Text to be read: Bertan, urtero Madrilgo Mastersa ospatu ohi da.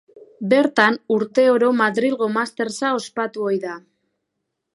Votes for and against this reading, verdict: 0, 2, rejected